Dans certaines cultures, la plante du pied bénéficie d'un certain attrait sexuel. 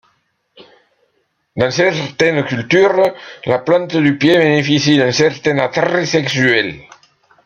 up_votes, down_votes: 2, 0